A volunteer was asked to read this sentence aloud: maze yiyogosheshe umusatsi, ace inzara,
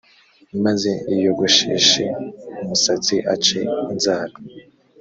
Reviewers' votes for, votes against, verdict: 2, 0, accepted